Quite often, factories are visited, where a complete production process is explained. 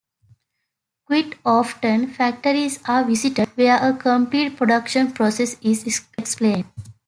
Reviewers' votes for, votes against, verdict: 0, 2, rejected